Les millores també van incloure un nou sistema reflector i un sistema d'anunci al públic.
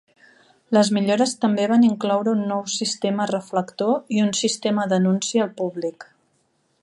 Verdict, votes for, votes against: accepted, 3, 0